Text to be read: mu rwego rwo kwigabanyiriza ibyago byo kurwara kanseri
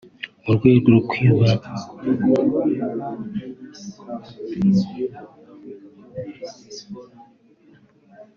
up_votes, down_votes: 0, 3